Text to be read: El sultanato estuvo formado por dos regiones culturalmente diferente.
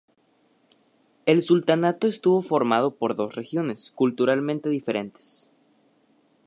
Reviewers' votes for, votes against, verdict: 0, 2, rejected